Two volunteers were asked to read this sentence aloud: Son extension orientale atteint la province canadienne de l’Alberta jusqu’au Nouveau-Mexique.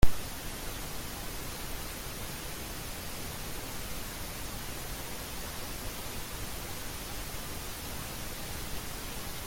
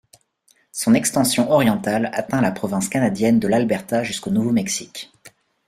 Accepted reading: second